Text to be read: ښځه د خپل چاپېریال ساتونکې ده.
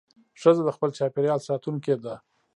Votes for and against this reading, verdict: 0, 2, rejected